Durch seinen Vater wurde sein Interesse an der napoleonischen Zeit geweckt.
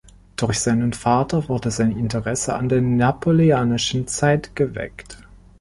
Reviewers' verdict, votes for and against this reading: rejected, 0, 2